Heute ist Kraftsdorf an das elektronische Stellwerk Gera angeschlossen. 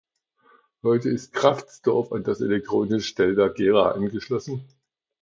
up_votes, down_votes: 0, 2